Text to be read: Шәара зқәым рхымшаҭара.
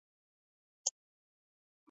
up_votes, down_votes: 1, 2